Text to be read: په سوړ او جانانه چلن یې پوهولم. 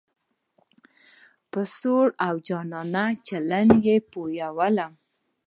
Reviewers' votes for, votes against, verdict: 2, 0, accepted